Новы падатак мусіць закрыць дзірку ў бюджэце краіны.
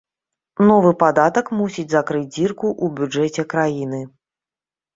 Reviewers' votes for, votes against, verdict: 2, 0, accepted